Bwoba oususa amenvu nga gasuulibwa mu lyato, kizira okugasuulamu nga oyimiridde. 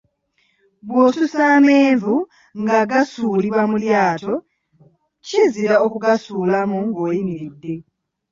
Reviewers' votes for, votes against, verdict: 1, 2, rejected